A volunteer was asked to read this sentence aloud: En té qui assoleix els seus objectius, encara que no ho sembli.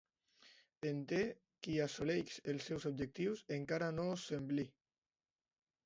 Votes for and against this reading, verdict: 0, 2, rejected